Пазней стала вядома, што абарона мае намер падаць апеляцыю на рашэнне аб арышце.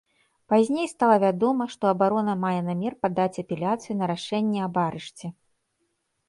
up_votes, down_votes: 2, 0